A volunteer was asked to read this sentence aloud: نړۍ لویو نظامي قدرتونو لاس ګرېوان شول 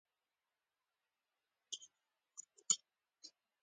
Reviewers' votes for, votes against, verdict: 0, 2, rejected